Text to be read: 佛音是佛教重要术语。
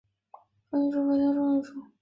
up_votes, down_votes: 1, 3